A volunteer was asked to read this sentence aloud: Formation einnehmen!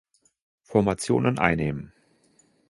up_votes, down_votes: 0, 2